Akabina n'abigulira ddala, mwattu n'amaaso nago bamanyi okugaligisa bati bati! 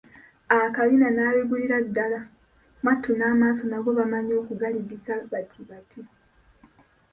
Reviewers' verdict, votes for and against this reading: accepted, 2, 1